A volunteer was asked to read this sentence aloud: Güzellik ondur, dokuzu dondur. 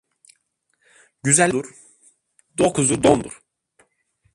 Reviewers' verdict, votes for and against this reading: rejected, 0, 2